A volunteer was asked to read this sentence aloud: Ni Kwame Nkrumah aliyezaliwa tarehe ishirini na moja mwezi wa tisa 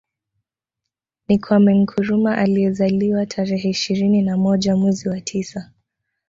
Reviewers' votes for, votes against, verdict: 1, 2, rejected